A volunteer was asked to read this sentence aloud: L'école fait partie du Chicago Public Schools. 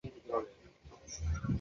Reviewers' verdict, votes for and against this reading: rejected, 0, 2